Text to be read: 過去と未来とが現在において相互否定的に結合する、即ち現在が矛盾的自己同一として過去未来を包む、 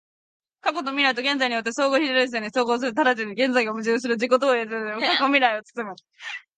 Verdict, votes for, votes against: rejected, 0, 2